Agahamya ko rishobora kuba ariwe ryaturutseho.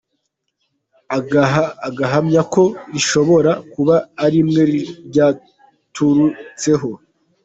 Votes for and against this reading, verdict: 2, 1, accepted